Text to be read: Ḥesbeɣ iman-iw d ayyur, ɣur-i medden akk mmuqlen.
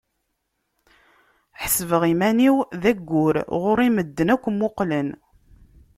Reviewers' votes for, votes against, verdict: 2, 0, accepted